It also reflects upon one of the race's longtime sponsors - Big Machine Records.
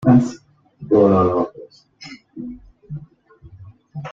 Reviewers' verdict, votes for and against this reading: rejected, 0, 2